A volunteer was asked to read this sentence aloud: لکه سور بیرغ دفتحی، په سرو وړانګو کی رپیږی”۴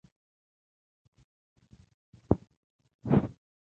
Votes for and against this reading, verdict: 0, 2, rejected